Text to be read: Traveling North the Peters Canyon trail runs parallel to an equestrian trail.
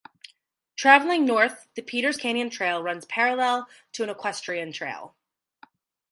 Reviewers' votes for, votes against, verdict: 2, 0, accepted